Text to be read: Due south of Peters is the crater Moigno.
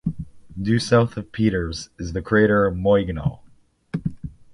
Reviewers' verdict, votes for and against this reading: accepted, 2, 0